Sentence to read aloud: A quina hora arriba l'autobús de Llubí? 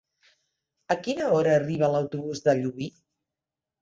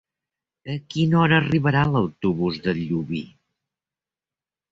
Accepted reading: first